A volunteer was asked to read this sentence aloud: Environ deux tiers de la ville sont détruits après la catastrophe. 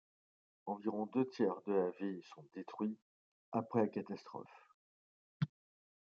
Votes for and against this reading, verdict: 2, 0, accepted